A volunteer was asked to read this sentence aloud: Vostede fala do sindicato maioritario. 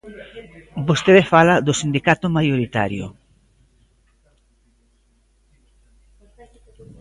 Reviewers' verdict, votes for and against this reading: accepted, 2, 0